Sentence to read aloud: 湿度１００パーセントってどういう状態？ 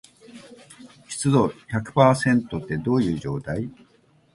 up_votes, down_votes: 0, 2